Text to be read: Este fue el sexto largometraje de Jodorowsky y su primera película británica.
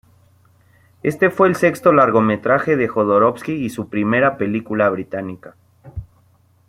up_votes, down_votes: 2, 0